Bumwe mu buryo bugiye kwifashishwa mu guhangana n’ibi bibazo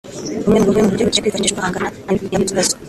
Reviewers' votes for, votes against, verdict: 0, 2, rejected